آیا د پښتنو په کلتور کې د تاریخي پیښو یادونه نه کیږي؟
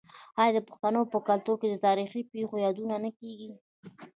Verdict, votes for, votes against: rejected, 0, 2